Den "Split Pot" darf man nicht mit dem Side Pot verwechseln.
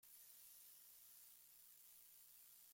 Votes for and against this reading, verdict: 0, 2, rejected